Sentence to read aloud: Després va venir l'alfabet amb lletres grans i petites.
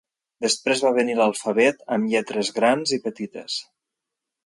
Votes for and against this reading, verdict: 2, 0, accepted